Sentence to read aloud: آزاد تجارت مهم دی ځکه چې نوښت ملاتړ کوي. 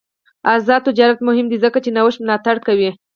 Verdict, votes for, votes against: rejected, 0, 4